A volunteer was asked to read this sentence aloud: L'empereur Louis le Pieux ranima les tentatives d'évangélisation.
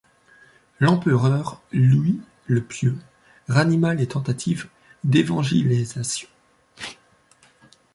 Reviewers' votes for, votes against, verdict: 1, 2, rejected